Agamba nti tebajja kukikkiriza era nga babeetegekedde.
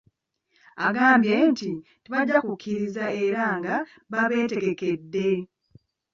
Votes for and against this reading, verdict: 0, 2, rejected